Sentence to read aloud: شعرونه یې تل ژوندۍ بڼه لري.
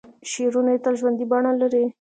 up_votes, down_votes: 2, 0